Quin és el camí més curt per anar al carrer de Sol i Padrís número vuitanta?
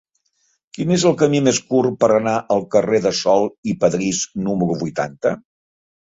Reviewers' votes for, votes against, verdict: 3, 1, accepted